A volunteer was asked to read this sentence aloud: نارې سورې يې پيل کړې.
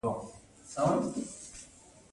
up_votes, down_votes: 0, 2